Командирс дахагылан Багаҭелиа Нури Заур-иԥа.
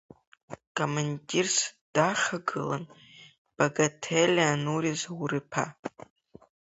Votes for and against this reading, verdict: 0, 2, rejected